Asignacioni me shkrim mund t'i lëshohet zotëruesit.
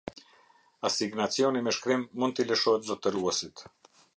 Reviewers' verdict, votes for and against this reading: accepted, 2, 0